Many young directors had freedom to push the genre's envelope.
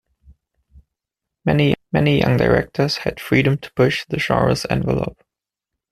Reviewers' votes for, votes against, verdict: 1, 2, rejected